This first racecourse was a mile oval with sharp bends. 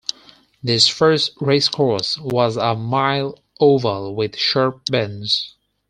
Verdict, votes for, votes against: accepted, 4, 0